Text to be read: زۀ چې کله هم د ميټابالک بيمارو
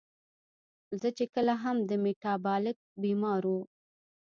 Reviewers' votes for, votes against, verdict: 0, 2, rejected